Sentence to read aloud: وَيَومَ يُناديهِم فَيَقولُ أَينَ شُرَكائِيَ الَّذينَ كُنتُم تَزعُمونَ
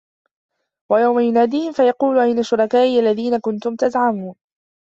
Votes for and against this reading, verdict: 1, 2, rejected